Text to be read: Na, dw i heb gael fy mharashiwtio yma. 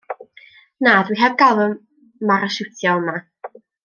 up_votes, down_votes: 1, 2